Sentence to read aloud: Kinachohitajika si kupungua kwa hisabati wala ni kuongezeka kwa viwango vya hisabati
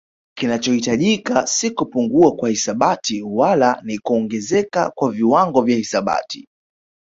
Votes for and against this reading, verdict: 1, 2, rejected